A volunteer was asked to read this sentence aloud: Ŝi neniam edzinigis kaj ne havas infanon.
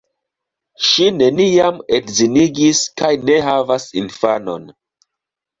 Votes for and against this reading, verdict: 2, 0, accepted